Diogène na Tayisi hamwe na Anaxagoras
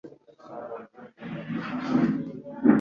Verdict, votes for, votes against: accepted, 2, 1